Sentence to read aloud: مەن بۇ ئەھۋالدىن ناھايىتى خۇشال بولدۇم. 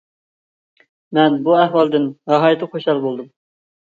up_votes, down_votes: 2, 0